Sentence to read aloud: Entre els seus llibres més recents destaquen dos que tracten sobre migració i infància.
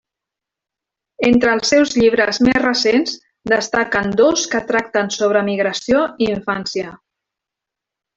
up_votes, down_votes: 2, 1